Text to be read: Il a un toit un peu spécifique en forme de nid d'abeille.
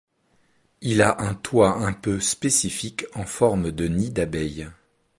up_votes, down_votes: 2, 0